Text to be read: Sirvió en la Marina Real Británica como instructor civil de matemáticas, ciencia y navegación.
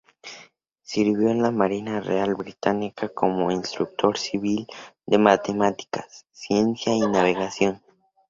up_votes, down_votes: 0, 2